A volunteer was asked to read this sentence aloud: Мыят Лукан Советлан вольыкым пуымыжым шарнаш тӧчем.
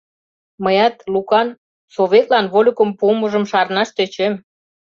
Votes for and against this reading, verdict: 2, 0, accepted